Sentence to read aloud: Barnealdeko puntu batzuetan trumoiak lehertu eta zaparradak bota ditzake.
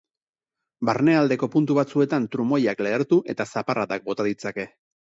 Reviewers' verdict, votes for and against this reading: accepted, 4, 0